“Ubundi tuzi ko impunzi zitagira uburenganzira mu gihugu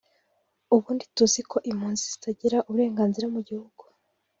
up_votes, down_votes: 2, 0